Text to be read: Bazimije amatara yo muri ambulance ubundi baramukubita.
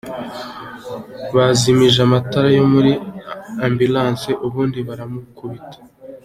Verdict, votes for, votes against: accepted, 2, 0